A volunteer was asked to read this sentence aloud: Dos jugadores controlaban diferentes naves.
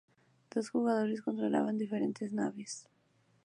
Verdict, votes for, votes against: accepted, 2, 0